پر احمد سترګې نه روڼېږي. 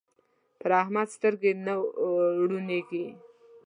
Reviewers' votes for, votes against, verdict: 0, 2, rejected